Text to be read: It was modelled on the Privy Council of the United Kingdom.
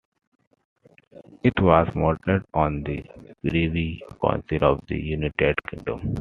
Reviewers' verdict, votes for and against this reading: accepted, 2, 1